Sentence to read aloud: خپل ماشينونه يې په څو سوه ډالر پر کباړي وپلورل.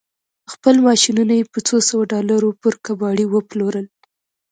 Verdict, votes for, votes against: accepted, 2, 1